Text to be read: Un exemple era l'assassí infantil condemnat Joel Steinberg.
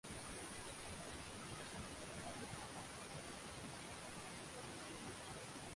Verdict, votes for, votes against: rejected, 0, 2